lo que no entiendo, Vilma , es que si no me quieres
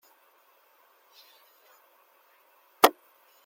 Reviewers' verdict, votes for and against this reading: rejected, 0, 2